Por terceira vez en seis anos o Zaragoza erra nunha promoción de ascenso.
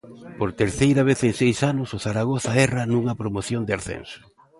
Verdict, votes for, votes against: accepted, 2, 0